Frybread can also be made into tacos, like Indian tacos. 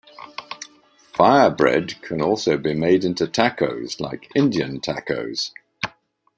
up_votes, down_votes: 2, 3